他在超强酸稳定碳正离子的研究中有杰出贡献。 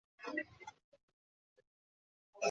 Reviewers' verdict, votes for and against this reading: rejected, 0, 2